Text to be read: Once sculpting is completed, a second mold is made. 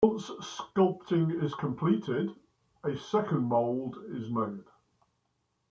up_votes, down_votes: 2, 0